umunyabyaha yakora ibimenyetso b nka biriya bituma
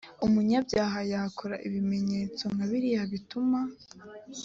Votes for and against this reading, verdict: 2, 0, accepted